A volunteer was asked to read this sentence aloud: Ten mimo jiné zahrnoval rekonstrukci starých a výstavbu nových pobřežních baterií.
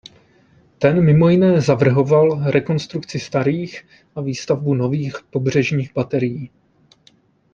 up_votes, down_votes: 0, 2